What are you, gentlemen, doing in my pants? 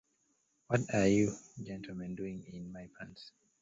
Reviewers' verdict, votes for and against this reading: rejected, 0, 2